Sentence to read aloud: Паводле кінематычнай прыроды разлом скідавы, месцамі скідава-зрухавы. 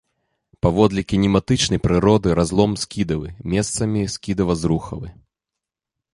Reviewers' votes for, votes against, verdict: 2, 0, accepted